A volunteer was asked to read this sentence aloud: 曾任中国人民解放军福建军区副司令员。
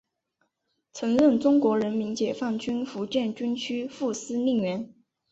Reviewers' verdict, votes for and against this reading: accepted, 2, 0